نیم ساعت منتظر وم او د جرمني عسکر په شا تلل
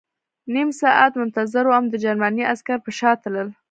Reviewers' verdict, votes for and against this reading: rejected, 0, 2